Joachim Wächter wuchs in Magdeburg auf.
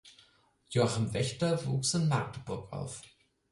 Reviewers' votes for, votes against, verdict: 4, 0, accepted